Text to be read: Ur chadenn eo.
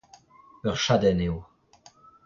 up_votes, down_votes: 2, 0